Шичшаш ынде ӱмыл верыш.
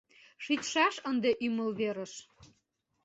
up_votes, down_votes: 2, 0